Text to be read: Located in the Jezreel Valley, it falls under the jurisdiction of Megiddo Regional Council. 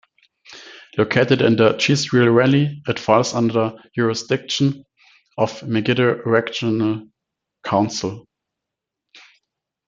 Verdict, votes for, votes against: rejected, 0, 2